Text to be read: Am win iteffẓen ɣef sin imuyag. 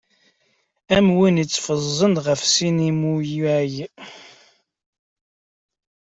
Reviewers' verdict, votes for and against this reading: rejected, 0, 2